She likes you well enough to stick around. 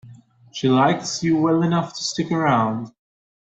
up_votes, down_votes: 2, 0